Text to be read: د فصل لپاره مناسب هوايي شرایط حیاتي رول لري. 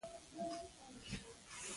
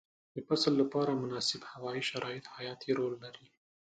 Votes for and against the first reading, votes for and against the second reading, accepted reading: 0, 2, 2, 0, second